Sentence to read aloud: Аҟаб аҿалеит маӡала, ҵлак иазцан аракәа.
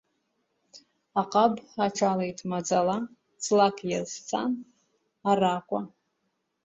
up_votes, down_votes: 2, 0